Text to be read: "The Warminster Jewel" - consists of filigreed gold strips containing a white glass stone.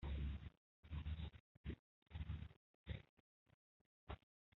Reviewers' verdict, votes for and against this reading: rejected, 0, 2